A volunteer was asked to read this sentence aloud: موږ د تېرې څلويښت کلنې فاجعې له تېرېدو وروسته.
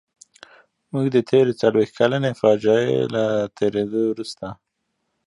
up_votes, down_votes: 0, 2